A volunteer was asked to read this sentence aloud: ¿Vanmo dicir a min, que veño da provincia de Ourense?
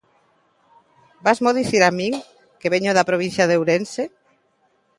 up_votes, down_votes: 1, 2